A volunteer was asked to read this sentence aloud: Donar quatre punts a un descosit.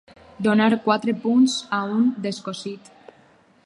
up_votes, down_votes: 4, 0